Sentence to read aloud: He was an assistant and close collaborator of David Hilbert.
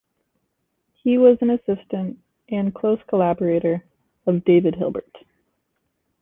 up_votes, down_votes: 2, 0